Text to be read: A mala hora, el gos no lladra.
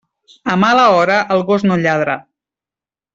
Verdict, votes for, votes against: accepted, 3, 0